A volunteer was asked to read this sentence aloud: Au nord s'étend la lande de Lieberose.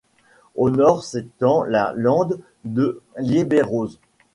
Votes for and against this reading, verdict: 2, 0, accepted